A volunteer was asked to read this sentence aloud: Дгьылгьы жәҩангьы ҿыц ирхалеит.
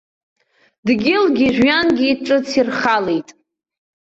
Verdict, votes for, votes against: accepted, 2, 0